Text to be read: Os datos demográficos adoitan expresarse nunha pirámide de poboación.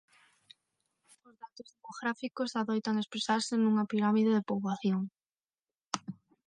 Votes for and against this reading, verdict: 6, 9, rejected